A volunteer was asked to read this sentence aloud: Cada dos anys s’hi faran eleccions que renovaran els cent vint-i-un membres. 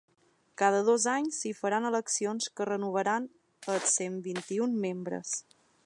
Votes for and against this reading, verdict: 3, 0, accepted